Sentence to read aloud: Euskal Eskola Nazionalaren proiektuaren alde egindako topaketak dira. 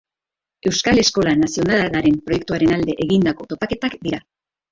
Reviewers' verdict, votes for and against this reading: accepted, 3, 2